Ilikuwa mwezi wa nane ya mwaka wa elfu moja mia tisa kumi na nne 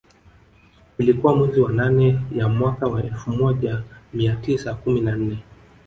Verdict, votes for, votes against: rejected, 1, 2